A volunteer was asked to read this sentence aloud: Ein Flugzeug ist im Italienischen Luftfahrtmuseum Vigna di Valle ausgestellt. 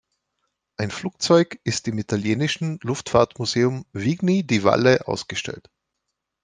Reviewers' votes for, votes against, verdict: 1, 2, rejected